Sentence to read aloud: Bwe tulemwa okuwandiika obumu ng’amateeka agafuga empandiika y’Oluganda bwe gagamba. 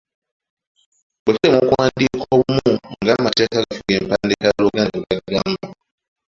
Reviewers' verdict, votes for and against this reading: rejected, 0, 2